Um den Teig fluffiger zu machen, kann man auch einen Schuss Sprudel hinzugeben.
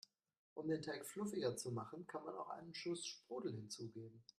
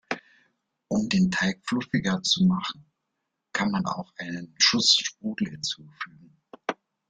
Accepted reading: first